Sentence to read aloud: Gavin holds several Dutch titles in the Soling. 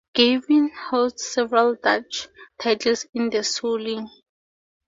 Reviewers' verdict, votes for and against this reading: accepted, 2, 0